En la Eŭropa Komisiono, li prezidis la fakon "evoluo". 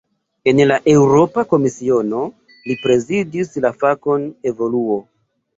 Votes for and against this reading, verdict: 2, 1, accepted